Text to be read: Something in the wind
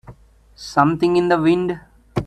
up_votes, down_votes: 2, 0